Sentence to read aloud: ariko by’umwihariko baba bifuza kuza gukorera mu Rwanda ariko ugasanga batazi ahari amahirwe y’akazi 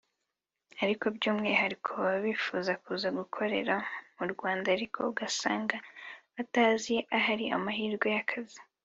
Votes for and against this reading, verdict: 3, 0, accepted